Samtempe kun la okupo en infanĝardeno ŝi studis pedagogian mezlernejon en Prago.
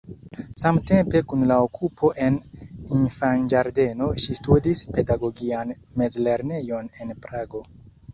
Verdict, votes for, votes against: accepted, 2, 1